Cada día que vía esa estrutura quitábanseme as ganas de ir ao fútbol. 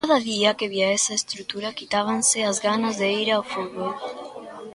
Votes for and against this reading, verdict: 0, 3, rejected